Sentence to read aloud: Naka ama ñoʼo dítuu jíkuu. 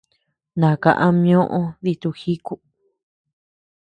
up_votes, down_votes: 2, 0